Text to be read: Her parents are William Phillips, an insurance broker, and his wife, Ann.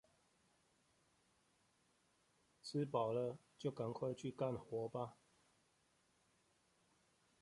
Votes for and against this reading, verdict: 0, 2, rejected